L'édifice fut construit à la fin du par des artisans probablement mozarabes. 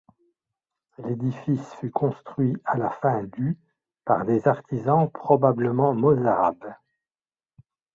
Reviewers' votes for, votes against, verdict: 2, 0, accepted